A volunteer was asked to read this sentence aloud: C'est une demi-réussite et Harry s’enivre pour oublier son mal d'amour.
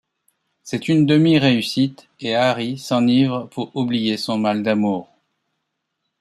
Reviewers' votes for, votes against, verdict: 2, 0, accepted